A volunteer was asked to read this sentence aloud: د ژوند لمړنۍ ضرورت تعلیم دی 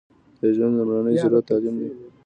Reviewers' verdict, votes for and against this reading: accepted, 2, 0